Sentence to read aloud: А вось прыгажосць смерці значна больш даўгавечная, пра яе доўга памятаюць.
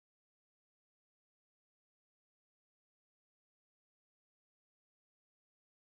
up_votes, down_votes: 0, 2